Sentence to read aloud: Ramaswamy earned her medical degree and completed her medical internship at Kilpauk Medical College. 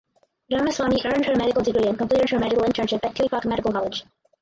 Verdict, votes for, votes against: rejected, 0, 4